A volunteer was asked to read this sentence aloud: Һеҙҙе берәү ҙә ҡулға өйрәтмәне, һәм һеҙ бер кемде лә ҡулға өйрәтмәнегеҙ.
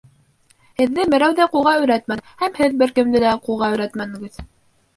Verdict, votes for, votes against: rejected, 2, 3